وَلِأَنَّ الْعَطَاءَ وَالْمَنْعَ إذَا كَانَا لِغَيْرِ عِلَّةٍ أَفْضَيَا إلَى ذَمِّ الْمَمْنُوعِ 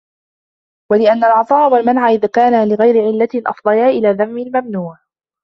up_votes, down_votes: 2, 1